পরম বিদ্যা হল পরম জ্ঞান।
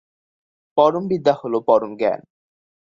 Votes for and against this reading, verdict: 2, 0, accepted